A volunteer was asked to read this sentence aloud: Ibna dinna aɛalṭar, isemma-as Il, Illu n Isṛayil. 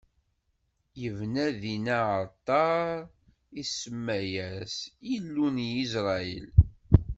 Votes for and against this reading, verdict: 1, 2, rejected